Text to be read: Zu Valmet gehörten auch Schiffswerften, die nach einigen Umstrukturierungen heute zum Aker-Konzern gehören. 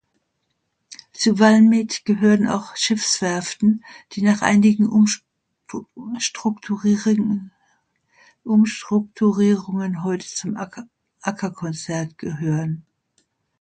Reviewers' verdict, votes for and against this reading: rejected, 0, 2